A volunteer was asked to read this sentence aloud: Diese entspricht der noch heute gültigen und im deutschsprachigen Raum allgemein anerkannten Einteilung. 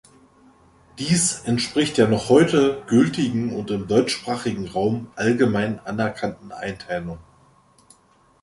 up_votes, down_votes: 2, 3